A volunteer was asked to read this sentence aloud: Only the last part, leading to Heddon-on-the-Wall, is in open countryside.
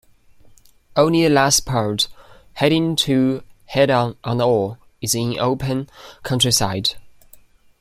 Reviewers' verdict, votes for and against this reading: rejected, 0, 2